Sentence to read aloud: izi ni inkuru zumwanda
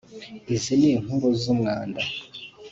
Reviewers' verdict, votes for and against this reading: accepted, 2, 0